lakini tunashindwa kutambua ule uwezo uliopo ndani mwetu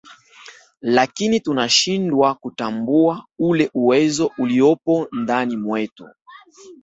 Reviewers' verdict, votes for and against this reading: accepted, 2, 0